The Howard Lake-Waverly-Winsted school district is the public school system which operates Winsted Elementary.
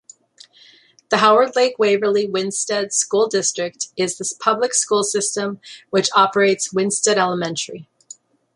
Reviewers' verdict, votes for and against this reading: accepted, 2, 1